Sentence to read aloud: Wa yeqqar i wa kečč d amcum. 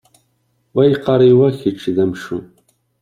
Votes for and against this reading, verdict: 1, 2, rejected